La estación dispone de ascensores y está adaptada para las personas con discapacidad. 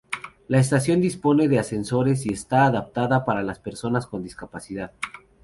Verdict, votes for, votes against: accepted, 2, 0